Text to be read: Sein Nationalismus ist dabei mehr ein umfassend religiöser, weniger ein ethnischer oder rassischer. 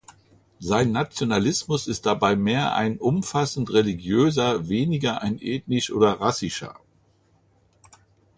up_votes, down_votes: 1, 2